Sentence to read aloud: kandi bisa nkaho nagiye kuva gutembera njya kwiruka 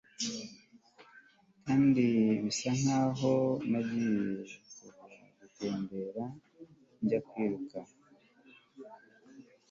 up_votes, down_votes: 1, 2